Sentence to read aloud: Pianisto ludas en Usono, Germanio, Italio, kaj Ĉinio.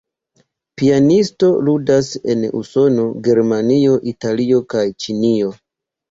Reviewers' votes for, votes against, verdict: 2, 1, accepted